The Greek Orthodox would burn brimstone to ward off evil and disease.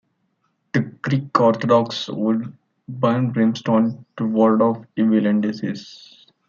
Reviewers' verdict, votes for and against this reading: accepted, 2, 1